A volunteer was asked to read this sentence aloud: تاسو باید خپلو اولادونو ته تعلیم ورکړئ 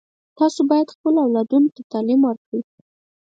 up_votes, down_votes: 4, 0